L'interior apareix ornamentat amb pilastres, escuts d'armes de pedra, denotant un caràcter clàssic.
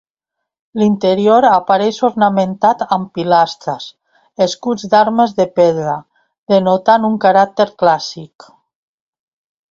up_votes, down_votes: 2, 0